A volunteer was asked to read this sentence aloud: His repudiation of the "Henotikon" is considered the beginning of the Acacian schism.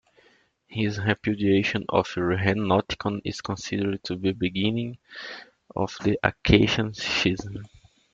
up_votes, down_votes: 1, 2